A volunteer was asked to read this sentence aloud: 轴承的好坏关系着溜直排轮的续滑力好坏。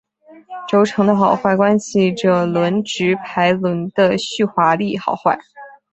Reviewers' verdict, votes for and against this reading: rejected, 1, 2